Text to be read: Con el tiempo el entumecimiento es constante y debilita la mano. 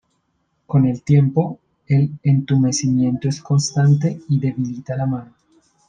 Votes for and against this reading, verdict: 2, 0, accepted